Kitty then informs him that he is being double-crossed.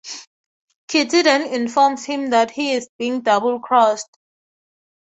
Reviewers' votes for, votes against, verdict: 2, 0, accepted